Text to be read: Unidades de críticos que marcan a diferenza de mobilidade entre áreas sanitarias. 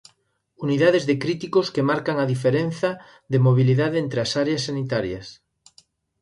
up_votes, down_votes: 1, 2